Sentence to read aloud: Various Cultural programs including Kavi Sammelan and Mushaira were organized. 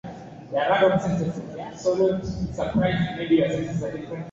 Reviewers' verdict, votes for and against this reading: rejected, 0, 6